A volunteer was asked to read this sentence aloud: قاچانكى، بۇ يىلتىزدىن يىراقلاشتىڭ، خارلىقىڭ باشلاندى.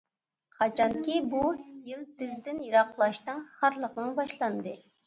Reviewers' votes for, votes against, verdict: 2, 0, accepted